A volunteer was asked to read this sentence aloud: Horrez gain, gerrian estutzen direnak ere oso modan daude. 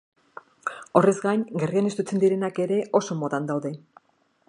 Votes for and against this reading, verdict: 2, 0, accepted